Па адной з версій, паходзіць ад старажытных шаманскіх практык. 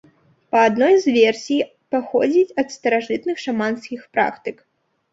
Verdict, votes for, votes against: accepted, 2, 0